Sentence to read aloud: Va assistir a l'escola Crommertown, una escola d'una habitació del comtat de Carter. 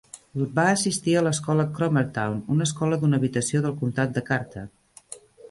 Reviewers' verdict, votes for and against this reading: rejected, 1, 2